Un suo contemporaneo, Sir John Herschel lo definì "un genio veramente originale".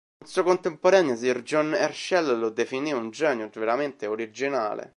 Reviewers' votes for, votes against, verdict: 0, 2, rejected